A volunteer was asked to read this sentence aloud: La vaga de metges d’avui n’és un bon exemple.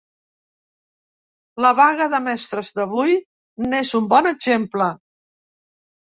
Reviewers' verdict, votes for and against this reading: rejected, 0, 2